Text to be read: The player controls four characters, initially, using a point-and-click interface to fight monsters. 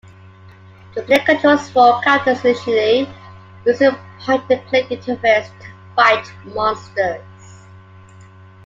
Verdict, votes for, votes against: accepted, 2, 0